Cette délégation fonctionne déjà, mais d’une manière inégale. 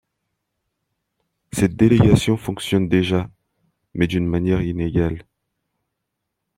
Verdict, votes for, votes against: rejected, 0, 2